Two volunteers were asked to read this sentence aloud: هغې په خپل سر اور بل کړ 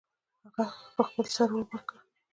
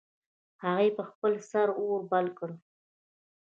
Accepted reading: first